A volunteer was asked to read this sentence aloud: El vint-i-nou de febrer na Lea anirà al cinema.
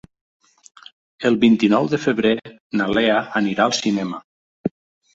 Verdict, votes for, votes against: accepted, 3, 0